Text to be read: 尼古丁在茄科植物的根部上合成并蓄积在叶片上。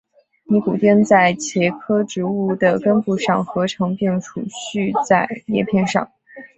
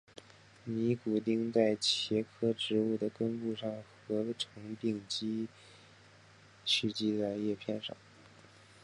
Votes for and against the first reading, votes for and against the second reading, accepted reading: 3, 1, 1, 3, first